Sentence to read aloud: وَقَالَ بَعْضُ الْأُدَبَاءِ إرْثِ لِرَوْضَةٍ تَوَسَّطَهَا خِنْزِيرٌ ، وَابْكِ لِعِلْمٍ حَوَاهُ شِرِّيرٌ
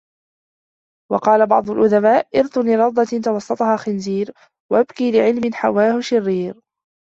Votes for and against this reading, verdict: 1, 2, rejected